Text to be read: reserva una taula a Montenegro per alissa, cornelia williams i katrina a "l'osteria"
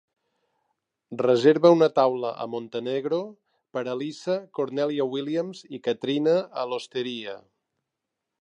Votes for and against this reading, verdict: 2, 0, accepted